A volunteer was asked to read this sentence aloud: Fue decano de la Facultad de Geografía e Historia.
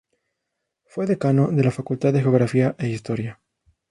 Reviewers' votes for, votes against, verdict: 0, 2, rejected